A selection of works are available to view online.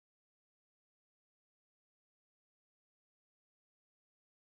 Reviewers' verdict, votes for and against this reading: rejected, 0, 4